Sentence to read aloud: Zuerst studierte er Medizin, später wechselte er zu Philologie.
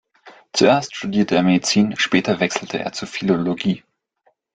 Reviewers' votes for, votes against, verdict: 1, 2, rejected